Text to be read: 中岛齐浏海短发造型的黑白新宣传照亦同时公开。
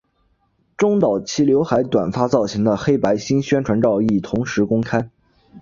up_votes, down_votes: 2, 0